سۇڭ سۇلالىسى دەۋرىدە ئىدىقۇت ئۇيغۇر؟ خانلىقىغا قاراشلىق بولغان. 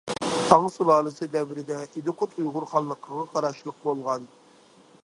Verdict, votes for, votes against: rejected, 0, 2